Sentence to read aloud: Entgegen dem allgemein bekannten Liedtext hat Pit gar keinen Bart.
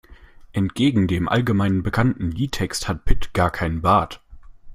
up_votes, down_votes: 2, 0